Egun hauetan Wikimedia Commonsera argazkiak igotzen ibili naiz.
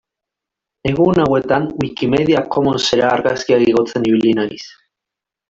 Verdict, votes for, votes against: rejected, 1, 2